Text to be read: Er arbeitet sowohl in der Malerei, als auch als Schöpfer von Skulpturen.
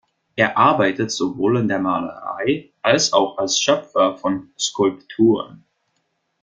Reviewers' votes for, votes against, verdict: 2, 0, accepted